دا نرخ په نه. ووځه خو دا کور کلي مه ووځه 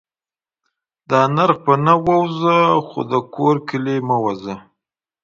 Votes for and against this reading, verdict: 2, 0, accepted